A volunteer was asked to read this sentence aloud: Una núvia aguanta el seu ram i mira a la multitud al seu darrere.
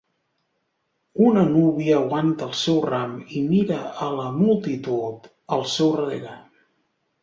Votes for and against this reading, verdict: 1, 2, rejected